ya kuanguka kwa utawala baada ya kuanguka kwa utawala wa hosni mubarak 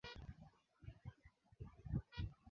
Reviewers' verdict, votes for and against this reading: rejected, 0, 3